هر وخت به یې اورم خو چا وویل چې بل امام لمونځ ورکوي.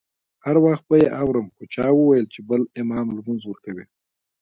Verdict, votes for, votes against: accepted, 2, 0